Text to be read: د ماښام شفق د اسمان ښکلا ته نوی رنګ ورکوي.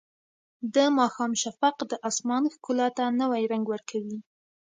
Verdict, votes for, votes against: accepted, 2, 0